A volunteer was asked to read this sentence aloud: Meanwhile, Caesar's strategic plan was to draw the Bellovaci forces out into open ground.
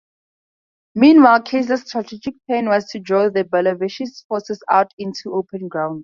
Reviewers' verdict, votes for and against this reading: rejected, 2, 2